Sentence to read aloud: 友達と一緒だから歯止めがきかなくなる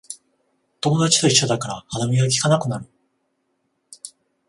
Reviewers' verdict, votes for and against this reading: accepted, 14, 0